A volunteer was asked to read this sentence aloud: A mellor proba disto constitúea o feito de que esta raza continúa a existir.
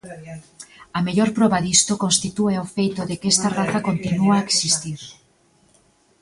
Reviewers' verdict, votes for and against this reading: rejected, 1, 2